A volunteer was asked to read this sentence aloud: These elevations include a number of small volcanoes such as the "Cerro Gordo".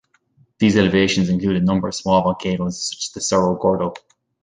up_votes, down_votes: 2, 0